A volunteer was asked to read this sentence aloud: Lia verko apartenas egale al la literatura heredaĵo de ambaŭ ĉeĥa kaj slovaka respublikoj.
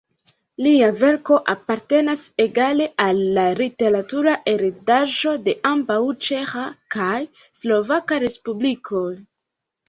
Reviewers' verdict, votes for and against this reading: rejected, 1, 2